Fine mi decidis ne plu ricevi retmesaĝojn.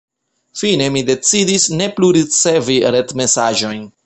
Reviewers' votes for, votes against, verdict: 2, 0, accepted